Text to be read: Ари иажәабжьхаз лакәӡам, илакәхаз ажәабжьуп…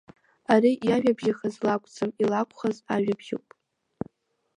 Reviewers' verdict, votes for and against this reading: rejected, 0, 2